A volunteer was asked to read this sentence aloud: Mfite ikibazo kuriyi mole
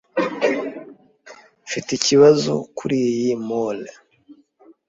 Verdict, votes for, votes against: accepted, 2, 0